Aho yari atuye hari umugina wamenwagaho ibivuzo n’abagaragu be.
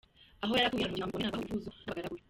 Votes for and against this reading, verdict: 0, 2, rejected